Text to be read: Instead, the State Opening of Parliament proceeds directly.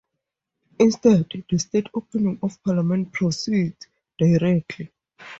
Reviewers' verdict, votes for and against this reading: accepted, 2, 0